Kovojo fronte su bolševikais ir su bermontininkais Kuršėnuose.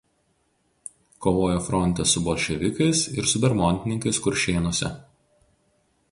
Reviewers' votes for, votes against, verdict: 4, 0, accepted